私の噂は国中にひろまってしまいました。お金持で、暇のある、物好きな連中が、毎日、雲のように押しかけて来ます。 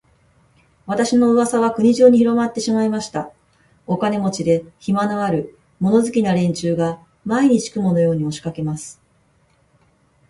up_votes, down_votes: 2, 2